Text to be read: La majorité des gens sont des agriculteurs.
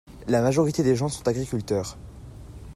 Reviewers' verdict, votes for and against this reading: rejected, 0, 2